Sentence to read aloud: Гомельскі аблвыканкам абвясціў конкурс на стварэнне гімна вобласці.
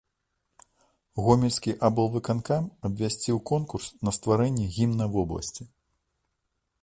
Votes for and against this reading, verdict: 2, 0, accepted